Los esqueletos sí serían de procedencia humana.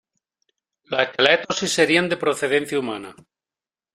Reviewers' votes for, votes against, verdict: 1, 2, rejected